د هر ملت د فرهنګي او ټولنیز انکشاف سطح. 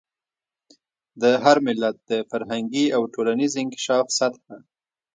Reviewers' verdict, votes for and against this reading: accepted, 2, 0